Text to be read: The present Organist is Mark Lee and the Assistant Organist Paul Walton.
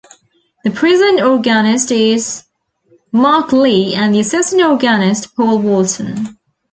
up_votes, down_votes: 1, 2